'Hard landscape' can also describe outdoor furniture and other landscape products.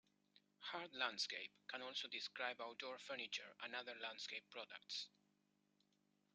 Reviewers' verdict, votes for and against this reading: accepted, 3, 0